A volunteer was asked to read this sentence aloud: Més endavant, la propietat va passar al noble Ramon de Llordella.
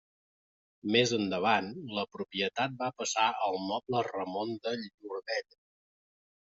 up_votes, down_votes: 1, 2